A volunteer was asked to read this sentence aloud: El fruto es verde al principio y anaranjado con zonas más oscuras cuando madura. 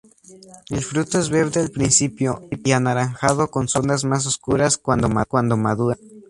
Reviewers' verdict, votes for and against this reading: rejected, 0, 2